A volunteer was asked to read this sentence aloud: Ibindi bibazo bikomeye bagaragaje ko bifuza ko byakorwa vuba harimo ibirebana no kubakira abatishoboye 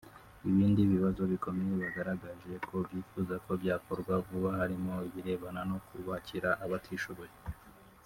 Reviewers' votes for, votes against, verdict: 1, 2, rejected